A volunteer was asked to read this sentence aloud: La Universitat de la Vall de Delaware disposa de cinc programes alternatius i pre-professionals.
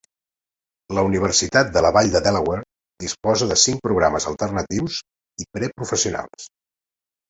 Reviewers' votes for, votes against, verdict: 2, 0, accepted